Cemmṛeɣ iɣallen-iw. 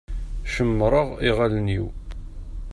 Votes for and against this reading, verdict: 2, 0, accepted